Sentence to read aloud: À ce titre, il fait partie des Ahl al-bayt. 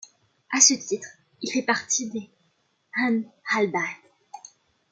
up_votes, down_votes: 2, 1